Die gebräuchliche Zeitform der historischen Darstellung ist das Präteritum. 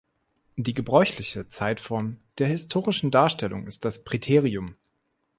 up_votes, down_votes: 0, 2